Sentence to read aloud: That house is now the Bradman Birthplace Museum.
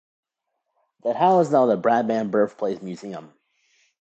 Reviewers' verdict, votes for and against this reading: accepted, 2, 1